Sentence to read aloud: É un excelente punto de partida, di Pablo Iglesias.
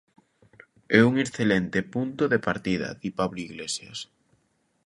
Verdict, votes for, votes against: accepted, 2, 0